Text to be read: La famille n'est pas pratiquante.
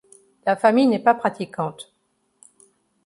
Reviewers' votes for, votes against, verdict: 2, 0, accepted